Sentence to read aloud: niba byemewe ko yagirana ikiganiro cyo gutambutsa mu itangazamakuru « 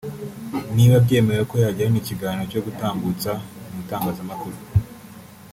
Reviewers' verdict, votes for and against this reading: rejected, 1, 2